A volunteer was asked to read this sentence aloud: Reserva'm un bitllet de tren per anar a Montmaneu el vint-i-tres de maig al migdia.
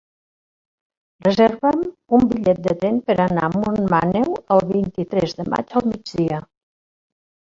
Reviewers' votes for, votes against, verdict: 1, 2, rejected